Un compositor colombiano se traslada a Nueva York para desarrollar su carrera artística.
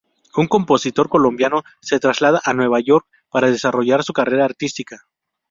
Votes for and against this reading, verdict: 2, 0, accepted